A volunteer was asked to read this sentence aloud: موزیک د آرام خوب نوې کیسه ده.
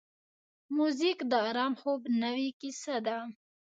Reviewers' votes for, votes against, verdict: 0, 2, rejected